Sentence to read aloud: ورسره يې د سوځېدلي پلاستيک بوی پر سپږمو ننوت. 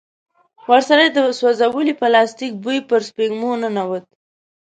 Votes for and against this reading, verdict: 1, 2, rejected